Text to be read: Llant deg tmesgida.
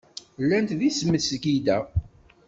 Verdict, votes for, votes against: rejected, 1, 2